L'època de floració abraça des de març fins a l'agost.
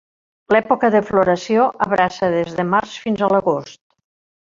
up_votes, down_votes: 3, 0